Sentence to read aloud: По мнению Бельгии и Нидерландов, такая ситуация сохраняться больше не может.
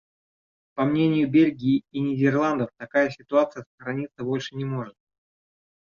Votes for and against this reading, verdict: 1, 2, rejected